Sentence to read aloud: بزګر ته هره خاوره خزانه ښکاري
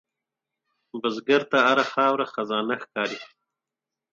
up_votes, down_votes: 10, 0